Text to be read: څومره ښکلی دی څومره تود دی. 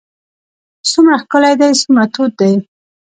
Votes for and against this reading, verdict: 2, 0, accepted